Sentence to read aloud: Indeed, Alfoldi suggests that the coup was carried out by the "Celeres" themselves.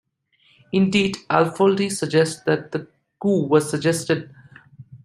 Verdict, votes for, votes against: rejected, 0, 2